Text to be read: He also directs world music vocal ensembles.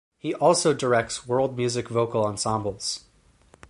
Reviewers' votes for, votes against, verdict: 4, 0, accepted